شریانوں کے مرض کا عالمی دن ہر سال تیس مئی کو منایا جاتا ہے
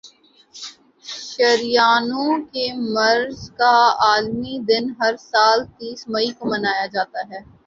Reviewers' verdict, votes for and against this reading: accepted, 2, 0